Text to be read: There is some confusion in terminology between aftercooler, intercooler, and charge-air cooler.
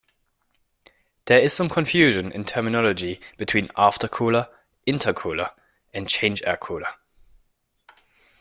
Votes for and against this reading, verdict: 0, 2, rejected